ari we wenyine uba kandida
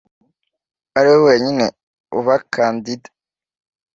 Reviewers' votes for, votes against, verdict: 2, 0, accepted